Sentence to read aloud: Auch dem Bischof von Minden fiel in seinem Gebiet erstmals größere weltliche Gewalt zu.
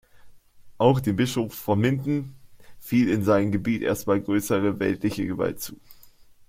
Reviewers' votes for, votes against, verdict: 0, 2, rejected